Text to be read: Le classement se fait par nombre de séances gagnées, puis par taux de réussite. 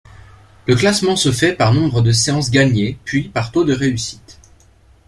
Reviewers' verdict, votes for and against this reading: accepted, 2, 0